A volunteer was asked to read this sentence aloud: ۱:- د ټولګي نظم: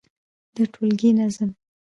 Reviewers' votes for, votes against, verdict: 0, 2, rejected